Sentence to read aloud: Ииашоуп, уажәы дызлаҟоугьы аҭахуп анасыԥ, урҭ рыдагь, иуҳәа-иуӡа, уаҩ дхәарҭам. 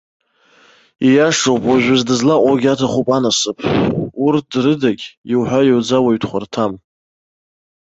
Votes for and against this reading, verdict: 2, 0, accepted